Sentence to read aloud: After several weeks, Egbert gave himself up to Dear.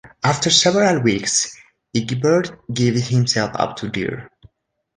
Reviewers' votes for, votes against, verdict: 3, 2, accepted